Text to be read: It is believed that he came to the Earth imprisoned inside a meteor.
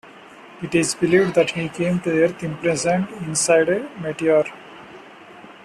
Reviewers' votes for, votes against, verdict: 2, 1, accepted